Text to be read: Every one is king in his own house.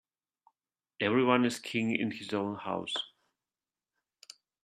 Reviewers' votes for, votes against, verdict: 3, 0, accepted